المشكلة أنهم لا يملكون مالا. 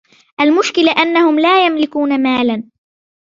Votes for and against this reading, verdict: 2, 0, accepted